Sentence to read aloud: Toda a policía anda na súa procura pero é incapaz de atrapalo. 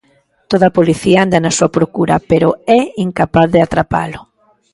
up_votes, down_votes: 3, 0